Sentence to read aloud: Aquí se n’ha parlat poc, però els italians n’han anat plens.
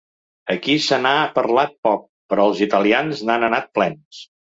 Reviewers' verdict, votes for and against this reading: accepted, 2, 0